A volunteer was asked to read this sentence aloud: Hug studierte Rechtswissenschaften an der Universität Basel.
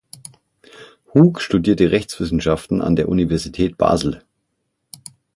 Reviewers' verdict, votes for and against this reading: accepted, 6, 0